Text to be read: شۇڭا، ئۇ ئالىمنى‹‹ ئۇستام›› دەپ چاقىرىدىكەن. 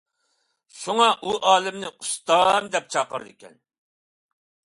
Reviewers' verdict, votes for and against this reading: accepted, 2, 0